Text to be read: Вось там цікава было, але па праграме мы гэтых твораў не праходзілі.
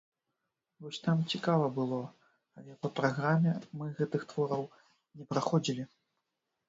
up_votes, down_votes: 0, 2